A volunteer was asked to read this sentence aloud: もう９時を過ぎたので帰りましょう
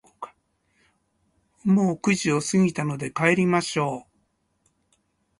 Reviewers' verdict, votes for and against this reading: rejected, 0, 2